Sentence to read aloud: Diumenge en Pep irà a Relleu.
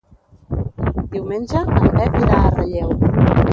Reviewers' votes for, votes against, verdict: 0, 2, rejected